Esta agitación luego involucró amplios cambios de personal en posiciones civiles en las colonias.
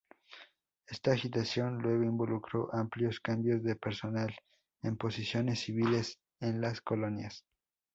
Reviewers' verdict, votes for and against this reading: accepted, 2, 0